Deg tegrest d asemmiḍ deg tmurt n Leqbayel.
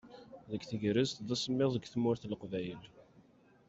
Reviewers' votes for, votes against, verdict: 2, 0, accepted